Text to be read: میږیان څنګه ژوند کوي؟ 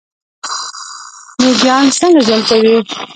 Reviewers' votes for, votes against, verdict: 0, 2, rejected